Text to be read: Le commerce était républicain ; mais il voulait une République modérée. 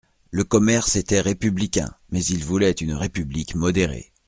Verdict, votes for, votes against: accepted, 2, 0